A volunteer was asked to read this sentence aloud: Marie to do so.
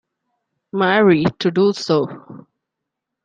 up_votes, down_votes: 2, 0